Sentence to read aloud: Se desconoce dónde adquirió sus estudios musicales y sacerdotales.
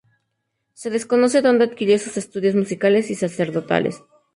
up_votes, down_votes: 2, 2